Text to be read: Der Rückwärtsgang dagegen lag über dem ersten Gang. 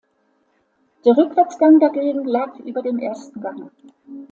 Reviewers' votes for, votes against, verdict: 2, 0, accepted